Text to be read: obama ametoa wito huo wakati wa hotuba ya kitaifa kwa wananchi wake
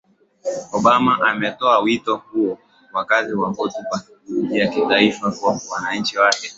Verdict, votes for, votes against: rejected, 0, 2